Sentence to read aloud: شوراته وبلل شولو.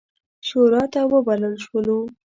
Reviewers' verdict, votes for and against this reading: accepted, 2, 1